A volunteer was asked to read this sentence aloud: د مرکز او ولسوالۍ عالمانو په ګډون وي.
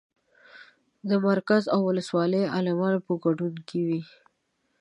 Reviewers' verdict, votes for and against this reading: accepted, 2, 0